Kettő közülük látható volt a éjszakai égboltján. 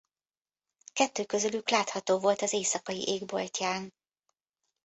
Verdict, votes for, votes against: accepted, 2, 0